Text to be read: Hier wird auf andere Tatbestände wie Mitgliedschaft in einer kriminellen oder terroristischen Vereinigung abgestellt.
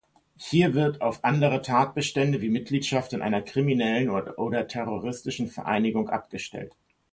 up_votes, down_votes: 1, 2